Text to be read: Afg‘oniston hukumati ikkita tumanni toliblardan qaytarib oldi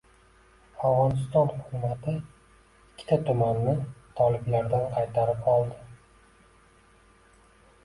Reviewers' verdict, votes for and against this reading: accepted, 2, 1